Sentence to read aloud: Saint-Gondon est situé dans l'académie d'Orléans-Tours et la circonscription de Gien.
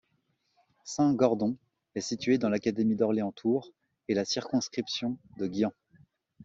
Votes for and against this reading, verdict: 1, 3, rejected